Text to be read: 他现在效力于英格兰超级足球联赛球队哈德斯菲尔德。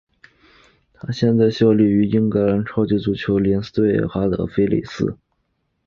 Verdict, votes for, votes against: accepted, 2, 1